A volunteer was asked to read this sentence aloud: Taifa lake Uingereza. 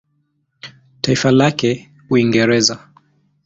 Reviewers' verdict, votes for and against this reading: accepted, 2, 1